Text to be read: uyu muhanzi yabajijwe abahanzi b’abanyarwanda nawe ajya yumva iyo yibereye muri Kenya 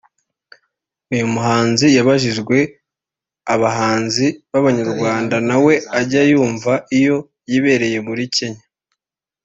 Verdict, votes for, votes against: accepted, 2, 0